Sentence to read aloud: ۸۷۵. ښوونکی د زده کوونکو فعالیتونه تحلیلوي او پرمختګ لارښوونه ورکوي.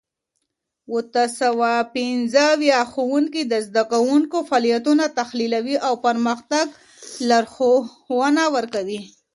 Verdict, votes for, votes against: rejected, 0, 2